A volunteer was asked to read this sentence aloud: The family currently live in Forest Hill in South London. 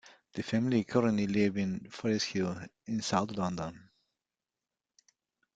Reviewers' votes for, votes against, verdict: 1, 2, rejected